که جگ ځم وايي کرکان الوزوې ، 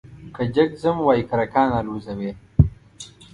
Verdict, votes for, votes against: accepted, 2, 0